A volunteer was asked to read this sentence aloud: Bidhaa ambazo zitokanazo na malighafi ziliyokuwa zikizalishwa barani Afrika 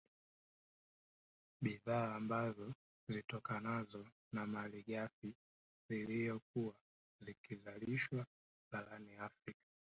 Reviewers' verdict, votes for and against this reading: accepted, 2, 0